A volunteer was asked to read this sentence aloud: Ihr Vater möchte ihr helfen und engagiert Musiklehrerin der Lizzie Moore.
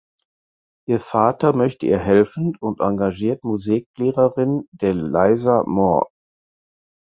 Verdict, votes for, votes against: rejected, 0, 4